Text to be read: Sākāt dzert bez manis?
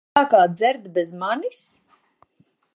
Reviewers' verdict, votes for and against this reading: rejected, 0, 2